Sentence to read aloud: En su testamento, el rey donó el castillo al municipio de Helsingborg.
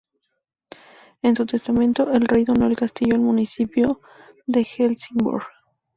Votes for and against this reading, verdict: 2, 0, accepted